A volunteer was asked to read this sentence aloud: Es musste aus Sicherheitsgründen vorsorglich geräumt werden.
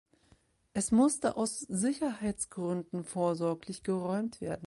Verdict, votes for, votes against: accepted, 2, 0